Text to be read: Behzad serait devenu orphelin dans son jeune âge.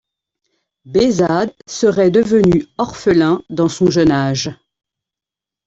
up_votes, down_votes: 2, 0